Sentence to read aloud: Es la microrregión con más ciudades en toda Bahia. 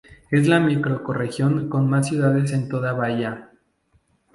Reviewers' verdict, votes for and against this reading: rejected, 0, 2